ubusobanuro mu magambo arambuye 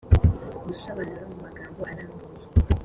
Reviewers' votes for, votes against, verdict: 2, 0, accepted